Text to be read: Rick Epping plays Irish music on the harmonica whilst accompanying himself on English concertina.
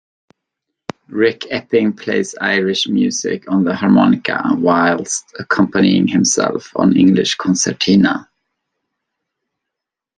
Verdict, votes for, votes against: rejected, 1, 2